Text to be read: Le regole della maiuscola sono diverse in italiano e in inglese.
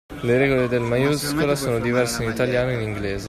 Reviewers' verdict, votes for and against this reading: rejected, 0, 2